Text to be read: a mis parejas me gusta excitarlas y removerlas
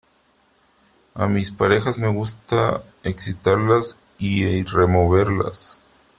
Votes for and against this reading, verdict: 3, 2, accepted